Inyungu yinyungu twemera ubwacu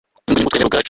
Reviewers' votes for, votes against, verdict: 0, 2, rejected